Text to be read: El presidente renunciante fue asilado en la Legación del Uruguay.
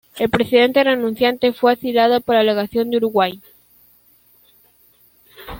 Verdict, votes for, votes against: accepted, 2, 1